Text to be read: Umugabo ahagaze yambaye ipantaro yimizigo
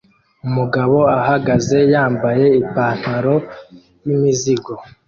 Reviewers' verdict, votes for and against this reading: accepted, 2, 0